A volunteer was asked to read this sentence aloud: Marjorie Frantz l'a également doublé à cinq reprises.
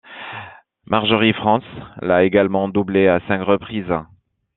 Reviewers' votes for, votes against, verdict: 2, 0, accepted